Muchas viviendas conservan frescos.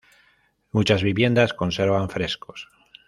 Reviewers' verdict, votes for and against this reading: accepted, 2, 1